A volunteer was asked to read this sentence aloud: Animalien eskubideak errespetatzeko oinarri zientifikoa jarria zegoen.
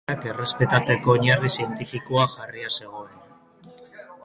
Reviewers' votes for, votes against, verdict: 0, 2, rejected